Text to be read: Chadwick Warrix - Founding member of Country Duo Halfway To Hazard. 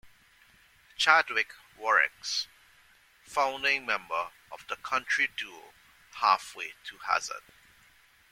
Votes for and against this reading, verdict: 0, 2, rejected